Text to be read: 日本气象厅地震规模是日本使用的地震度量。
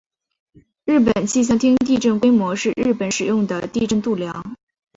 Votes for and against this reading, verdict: 2, 0, accepted